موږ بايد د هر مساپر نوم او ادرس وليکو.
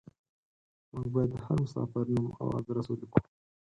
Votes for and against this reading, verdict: 2, 4, rejected